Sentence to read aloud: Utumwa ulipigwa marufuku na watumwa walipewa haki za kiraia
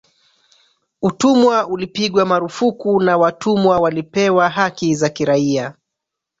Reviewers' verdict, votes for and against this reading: rejected, 0, 2